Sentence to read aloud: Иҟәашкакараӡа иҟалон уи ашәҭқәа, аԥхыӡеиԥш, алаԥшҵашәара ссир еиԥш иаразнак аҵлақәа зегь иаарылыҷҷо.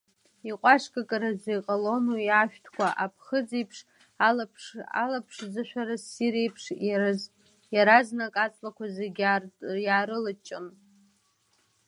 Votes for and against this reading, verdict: 0, 2, rejected